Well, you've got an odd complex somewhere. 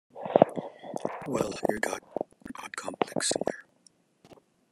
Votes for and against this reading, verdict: 2, 0, accepted